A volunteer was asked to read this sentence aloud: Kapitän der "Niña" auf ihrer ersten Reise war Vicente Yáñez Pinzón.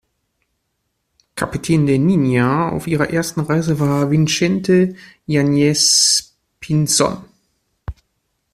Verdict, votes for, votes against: rejected, 0, 2